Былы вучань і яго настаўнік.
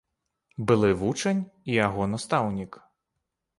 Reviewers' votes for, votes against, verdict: 2, 0, accepted